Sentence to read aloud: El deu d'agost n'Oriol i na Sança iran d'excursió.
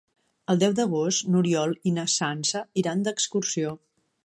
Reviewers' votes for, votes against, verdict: 3, 0, accepted